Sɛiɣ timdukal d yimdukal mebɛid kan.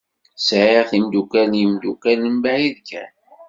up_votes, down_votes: 2, 0